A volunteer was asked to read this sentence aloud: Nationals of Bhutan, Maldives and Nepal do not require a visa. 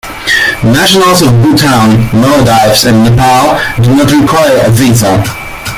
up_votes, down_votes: 0, 2